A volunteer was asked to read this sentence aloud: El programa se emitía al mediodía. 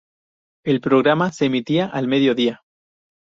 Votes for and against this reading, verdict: 4, 0, accepted